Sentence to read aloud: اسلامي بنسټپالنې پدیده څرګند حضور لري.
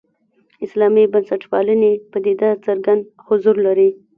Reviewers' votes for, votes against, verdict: 1, 2, rejected